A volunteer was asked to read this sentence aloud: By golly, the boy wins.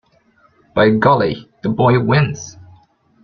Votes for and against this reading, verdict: 2, 0, accepted